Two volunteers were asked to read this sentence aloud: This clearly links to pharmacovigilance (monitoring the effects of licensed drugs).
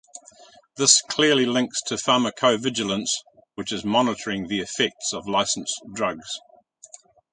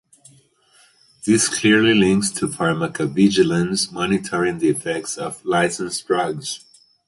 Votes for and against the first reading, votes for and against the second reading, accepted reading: 1, 2, 4, 2, second